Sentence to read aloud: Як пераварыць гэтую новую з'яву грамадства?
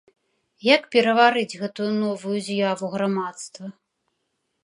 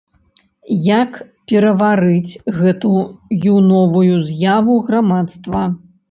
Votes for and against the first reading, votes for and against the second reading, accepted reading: 3, 0, 0, 2, first